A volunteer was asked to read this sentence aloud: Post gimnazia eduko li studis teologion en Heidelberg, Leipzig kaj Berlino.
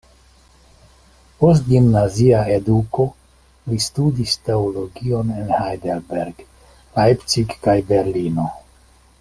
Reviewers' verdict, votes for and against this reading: accepted, 2, 0